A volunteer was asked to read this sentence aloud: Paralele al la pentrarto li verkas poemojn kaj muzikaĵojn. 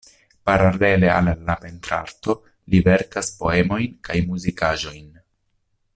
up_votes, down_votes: 0, 2